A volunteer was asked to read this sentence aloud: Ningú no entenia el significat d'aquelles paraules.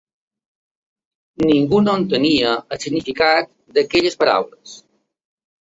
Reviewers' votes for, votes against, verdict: 3, 0, accepted